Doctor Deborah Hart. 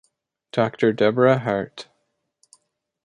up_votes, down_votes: 2, 0